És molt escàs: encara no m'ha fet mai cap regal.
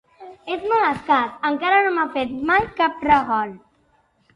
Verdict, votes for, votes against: accepted, 2, 0